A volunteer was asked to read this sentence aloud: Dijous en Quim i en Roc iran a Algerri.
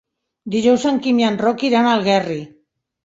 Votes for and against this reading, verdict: 0, 2, rejected